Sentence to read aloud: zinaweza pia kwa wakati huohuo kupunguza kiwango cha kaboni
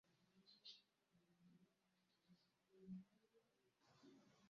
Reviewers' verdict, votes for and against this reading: rejected, 0, 2